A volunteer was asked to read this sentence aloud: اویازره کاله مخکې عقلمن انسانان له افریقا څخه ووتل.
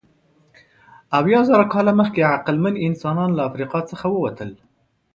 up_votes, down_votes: 2, 0